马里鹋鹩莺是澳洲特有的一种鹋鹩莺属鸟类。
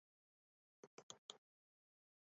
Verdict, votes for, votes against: accepted, 2, 1